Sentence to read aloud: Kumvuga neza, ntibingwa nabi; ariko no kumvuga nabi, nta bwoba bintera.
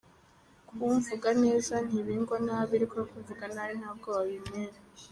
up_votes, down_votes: 1, 2